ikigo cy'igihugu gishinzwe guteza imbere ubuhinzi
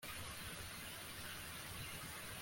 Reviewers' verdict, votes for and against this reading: rejected, 0, 2